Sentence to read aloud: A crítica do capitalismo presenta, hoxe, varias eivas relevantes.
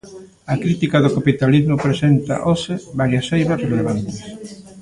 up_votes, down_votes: 2, 0